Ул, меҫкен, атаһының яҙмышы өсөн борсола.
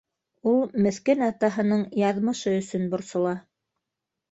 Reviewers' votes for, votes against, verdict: 0, 2, rejected